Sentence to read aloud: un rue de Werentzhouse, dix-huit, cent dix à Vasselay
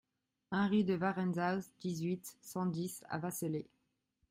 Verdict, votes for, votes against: accepted, 2, 0